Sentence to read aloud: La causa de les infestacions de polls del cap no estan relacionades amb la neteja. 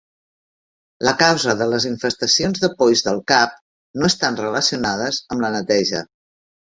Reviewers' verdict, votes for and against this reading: rejected, 1, 2